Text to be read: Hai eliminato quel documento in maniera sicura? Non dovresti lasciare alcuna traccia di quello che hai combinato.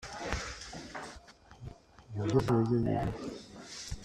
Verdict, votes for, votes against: rejected, 0, 2